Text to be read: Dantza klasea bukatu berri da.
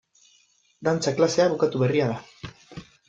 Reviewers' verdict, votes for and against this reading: rejected, 0, 2